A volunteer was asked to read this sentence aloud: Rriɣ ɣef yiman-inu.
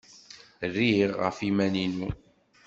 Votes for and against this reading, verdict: 1, 2, rejected